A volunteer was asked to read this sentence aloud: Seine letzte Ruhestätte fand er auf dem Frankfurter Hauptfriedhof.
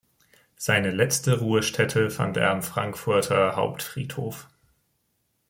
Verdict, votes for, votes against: rejected, 1, 2